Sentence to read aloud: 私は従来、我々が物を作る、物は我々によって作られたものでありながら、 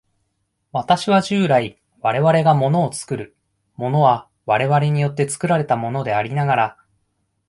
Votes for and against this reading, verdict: 2, 0, accepted